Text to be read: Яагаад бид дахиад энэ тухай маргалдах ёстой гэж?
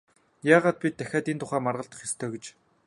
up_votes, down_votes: 2, 0